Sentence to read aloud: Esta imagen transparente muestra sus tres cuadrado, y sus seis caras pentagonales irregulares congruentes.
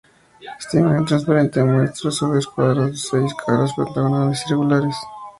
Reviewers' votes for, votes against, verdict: 0, 2, rejected